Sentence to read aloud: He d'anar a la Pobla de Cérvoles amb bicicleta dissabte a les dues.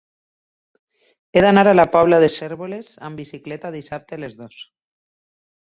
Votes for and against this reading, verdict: 0, 2, rejected